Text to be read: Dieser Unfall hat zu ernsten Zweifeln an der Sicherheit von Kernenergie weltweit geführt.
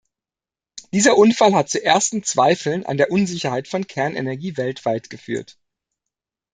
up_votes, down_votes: 0, 2